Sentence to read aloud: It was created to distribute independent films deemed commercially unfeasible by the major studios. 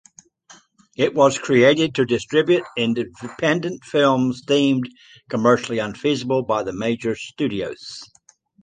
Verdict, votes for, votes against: accepted, 2, 0